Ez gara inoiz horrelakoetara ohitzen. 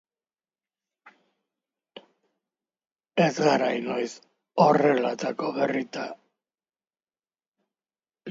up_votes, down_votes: 0, 2